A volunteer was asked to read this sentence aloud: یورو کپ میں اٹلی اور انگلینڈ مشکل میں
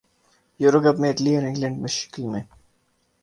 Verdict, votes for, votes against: rejected, 2, 2